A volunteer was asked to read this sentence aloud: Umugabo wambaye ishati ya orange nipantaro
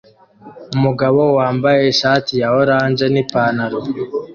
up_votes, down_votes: 2, 0